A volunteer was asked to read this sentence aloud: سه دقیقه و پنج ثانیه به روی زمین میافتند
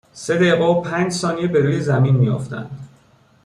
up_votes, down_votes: 2, 0